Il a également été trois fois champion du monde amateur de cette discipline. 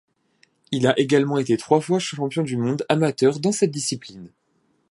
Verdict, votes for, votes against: rejected, 1, 2